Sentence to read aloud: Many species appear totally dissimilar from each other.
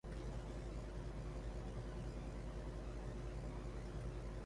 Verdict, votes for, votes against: rejected, 0, 2